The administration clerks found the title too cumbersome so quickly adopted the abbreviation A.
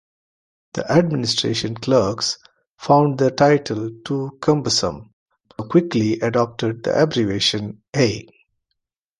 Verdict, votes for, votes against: rejected, 1, 2